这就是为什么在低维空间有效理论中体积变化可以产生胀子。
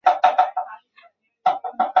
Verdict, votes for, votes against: rejected, 0, 4